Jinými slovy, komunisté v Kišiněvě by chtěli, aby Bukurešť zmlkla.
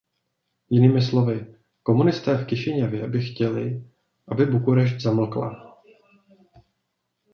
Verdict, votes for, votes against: rejected, 1, 2